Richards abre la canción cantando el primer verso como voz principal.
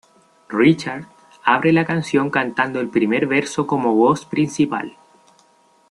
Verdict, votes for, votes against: accepted, 2, 0